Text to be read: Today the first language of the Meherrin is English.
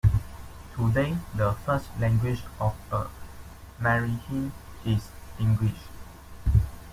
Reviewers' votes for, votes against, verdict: 3, 0, accepted